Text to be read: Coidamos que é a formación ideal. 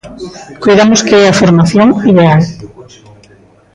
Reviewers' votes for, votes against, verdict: 0, 2, rejected